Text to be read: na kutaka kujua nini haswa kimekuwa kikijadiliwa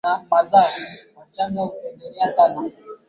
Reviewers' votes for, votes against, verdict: 0, 2, rejected